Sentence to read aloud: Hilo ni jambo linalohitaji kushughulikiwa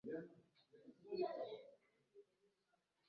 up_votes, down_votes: 0, 2